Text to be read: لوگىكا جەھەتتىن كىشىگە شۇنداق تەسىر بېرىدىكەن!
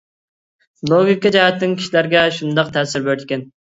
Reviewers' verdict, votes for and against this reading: rejected, 1, 2